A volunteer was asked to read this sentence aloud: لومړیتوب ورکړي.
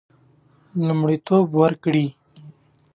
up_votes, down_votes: 2, 0